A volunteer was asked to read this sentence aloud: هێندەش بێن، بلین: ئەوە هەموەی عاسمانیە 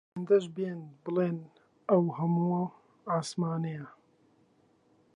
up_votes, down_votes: 0, 2